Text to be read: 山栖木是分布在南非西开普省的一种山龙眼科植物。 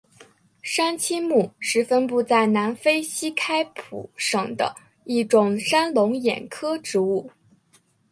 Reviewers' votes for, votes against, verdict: 7, 0, accepted